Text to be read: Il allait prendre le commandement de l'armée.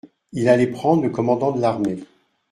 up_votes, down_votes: 0, 2